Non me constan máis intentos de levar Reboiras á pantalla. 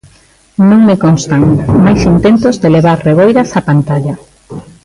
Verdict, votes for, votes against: rejected, 0, 2